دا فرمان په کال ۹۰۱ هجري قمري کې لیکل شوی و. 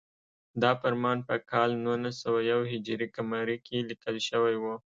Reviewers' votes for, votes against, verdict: 0, 2, rejected